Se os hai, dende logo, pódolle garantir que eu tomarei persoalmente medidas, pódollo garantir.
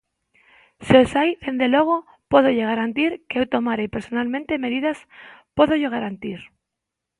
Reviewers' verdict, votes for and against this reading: rejected, 0, 3